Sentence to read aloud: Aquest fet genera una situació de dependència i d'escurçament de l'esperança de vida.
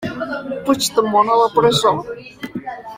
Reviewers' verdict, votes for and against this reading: rejected, 0, 2